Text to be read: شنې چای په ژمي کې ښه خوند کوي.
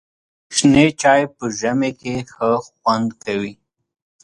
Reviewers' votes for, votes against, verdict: 2, 0, accepted